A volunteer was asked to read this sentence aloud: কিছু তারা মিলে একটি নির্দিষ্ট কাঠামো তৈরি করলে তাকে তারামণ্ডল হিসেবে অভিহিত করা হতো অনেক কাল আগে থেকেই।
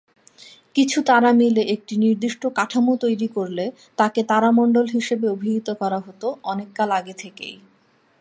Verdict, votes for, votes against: accepted, 2, 0